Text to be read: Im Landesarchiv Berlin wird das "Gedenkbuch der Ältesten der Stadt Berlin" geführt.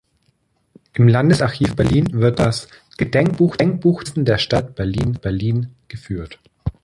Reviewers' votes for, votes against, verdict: 0, 2, rejected